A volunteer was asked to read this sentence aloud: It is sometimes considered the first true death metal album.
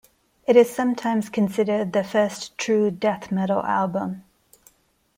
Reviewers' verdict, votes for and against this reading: accepted, 2, 0